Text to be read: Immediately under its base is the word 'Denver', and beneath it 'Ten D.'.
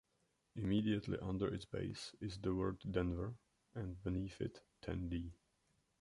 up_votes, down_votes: 1, 2